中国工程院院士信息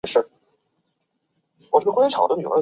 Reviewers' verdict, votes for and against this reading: rejected, 0, 2